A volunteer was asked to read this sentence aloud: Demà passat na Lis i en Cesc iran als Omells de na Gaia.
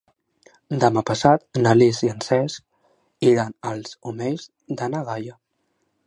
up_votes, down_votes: 3, 0